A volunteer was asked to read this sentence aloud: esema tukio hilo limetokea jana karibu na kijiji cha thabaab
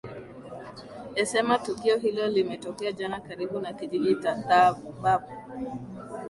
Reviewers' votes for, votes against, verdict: 11, 2, accepted